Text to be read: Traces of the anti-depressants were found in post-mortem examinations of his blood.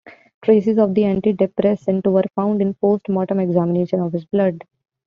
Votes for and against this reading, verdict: 0, 2, rejected